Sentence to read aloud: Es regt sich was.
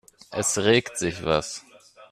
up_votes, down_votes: 2, 0